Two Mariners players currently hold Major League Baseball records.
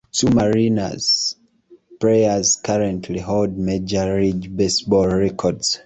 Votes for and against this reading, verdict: 0, 2, rejected